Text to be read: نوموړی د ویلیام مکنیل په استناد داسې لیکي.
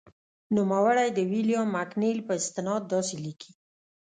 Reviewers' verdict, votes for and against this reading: accepted, 2, 0